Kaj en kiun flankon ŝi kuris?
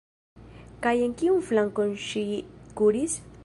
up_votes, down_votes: 1, 2